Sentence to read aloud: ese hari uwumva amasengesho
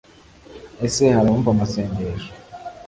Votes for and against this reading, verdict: 2, 0, accepted